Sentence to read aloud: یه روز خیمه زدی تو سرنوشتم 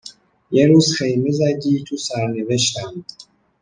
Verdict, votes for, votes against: accepted, 2, 0